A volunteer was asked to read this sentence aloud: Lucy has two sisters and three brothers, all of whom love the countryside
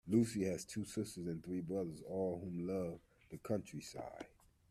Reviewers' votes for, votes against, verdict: 2, 0, accepted